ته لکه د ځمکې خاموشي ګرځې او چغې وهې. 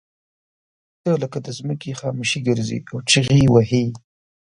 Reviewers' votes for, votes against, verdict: 2, 0, accepted